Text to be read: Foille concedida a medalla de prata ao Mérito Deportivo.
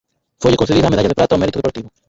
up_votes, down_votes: 0, 4